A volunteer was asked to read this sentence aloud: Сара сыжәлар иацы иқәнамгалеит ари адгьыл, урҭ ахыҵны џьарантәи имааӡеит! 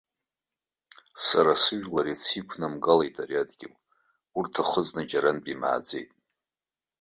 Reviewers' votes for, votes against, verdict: 2, 0, accepted